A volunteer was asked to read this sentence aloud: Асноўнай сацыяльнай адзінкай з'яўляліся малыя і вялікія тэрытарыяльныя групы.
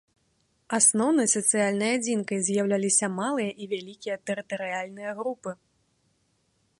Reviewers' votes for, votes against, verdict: 2, 0, accepted